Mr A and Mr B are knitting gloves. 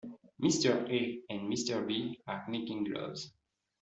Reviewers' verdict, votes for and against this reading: accepted, 2, 1